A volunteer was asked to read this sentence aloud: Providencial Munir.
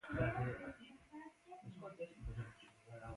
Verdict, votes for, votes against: rejected, 0, 2